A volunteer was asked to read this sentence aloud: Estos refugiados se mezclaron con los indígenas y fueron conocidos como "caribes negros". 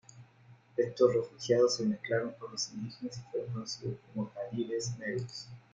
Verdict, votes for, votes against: accepted, 2, 0